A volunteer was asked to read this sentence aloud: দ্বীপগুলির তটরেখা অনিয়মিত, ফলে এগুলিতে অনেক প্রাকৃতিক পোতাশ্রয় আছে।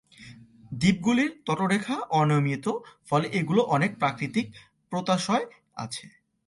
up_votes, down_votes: 0, 2